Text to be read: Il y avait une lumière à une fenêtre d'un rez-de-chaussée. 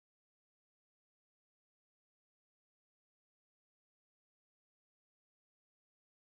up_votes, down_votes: 0, 2